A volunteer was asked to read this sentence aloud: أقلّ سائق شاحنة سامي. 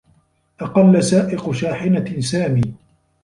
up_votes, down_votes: 2, 0